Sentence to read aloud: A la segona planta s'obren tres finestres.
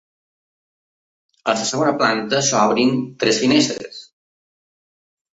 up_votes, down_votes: 2, 1